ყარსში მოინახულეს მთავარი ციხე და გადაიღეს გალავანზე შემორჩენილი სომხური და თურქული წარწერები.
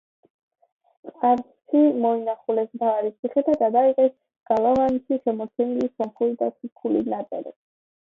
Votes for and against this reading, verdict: 0, 2, rejected